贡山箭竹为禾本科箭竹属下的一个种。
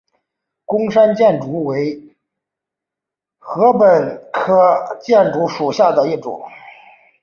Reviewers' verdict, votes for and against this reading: accepted, 2, 1